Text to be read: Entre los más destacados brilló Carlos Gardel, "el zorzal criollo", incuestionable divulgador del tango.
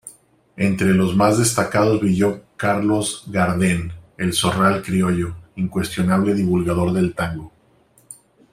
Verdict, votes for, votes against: rejected, 0, 2